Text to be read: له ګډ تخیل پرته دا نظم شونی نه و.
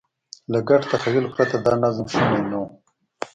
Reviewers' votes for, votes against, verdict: 2, 1, accepted